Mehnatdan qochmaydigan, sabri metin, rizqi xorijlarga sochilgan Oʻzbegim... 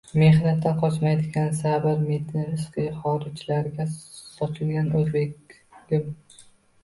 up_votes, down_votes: 0, 2